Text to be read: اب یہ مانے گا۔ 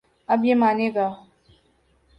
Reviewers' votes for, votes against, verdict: 2, 0, accepted